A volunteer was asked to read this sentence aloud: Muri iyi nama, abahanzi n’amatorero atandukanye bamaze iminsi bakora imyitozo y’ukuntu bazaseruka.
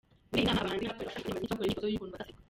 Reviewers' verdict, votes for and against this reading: rejected, 0, 2